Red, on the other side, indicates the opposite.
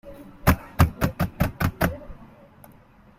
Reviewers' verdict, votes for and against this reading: rejected, 0, 2